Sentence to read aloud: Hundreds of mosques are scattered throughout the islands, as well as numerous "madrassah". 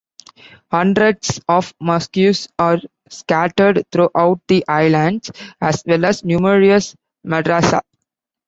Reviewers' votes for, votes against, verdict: 2, 1, accepted